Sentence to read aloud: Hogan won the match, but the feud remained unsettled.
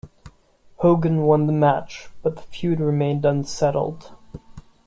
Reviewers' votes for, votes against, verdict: 2, 0, accepted